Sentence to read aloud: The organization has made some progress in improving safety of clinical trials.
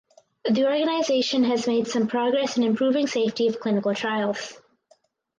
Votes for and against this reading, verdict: 4, 0, accepted